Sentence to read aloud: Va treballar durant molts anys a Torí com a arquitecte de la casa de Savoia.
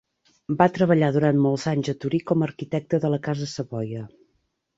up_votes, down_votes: 0, 2